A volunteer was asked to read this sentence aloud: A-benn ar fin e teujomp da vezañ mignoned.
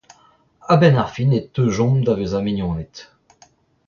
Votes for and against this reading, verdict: 1, 2, rejected